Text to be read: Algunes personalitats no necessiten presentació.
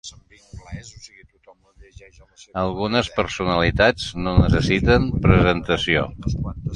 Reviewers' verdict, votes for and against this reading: rejected, 0, 2